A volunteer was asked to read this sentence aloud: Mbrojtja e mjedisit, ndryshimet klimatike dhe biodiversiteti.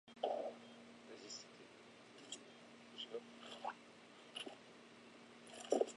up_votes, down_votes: 0, 2